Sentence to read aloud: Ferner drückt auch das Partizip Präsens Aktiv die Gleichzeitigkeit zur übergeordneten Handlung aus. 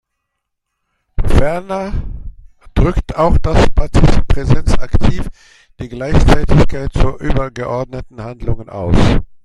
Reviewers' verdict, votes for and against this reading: rejected, 0, 2